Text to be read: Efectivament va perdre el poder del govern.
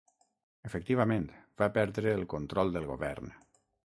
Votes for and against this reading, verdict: 3, 6, rejected